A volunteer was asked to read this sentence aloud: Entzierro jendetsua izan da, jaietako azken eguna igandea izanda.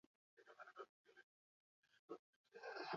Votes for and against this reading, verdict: 0, 4, rejected